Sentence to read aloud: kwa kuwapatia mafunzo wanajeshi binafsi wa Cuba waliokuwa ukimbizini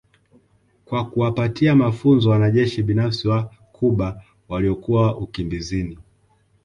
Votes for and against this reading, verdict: 2, 0, accepted